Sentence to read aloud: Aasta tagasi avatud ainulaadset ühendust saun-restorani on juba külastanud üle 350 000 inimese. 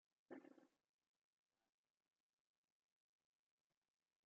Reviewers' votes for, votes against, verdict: 0, 2, rejected